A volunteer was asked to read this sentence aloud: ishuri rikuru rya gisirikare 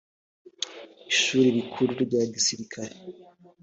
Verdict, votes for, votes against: accepted, 2, 0